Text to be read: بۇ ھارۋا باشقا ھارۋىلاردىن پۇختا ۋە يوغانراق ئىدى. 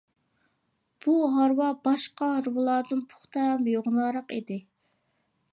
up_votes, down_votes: 0, 2